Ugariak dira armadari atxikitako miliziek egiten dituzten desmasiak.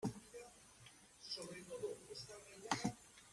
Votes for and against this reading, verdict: 0, 2, rejected